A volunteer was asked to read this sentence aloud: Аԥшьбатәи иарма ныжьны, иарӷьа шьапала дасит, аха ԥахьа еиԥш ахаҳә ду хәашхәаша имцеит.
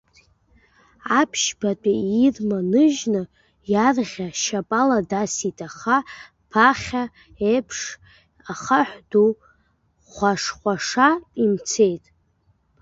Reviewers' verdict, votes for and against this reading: rejected, 0, 2